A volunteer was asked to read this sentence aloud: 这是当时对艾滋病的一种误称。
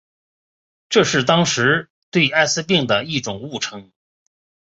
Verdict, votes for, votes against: accepted, 2, 0